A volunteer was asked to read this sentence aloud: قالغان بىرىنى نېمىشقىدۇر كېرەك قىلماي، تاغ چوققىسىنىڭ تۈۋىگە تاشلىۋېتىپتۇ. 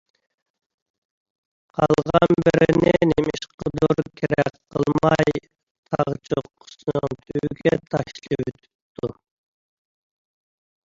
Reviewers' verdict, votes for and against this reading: rejected, 1, 2